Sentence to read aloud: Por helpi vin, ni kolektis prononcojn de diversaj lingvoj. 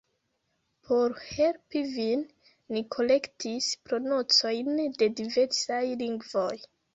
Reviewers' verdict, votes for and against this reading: rejected, 0, 2